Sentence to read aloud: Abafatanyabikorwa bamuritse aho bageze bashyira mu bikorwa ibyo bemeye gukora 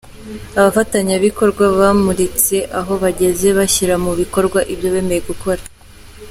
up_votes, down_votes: 2, 0